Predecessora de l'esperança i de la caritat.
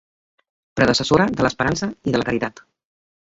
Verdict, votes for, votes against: accepted, 2, 1